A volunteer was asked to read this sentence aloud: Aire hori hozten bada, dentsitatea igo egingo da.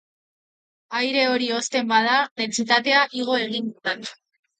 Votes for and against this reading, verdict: 2, 2, rejected